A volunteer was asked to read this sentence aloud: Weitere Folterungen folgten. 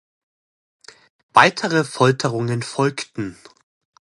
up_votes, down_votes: 2, 0